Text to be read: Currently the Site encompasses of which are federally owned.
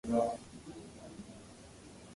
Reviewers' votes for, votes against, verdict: 0, 2, rejected